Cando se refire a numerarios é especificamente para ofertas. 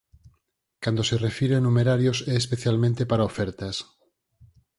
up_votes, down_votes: 2, 4